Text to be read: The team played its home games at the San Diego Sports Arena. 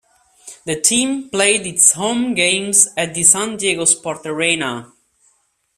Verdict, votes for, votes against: accepted, 2, 1